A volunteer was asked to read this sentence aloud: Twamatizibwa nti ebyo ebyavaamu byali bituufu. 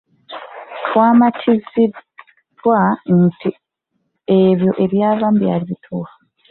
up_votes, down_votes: 0, 2